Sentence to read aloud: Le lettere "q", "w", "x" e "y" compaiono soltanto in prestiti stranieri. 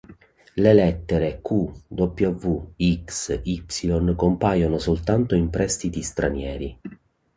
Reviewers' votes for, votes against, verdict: 0, 2, rejected